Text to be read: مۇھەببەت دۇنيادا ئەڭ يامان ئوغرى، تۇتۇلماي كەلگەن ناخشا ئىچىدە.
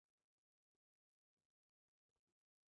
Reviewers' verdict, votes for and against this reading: rejected, 0, 2